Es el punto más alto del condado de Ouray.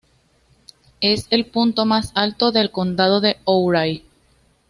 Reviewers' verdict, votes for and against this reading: accepted, 2, 0